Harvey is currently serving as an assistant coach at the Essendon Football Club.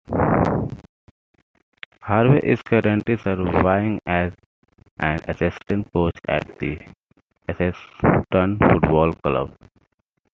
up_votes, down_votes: 2, 1